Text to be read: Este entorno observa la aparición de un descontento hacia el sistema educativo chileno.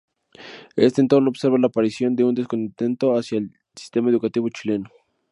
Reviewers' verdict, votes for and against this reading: accepted, 2, 0